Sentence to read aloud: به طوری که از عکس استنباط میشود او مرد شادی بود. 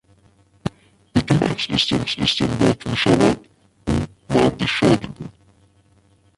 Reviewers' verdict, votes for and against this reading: rejected, 0, 2